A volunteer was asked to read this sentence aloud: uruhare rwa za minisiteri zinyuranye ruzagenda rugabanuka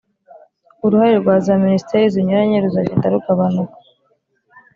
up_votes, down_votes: 3, 0